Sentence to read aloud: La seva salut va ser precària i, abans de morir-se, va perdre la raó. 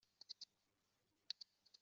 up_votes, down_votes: 0, 2